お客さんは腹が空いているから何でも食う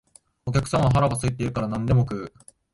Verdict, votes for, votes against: accepted, 4, 0